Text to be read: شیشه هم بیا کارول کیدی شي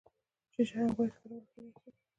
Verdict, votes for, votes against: rejected, 1, 2